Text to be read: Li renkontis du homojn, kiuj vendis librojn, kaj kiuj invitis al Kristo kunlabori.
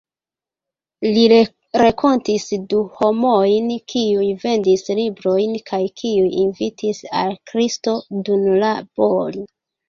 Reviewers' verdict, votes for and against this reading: rejected, 0, 2